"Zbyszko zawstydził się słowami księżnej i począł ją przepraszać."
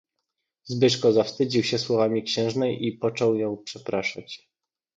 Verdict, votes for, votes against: accepted, 2, 0